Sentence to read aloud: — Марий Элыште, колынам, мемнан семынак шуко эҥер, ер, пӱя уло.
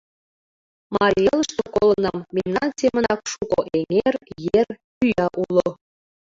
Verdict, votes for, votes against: rejected, 1, 2